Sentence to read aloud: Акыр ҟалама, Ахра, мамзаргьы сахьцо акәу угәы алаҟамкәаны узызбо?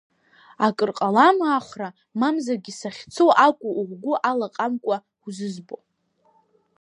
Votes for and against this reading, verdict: 1, 2, rejected